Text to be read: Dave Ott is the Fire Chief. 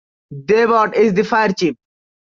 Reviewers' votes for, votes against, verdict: 2, 1, accepted